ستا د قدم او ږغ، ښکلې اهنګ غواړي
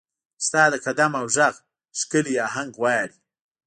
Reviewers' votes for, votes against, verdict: 2, 0, accepted